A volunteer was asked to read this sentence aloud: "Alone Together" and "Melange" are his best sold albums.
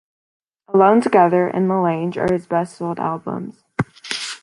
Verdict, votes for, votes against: rejected, 1, 2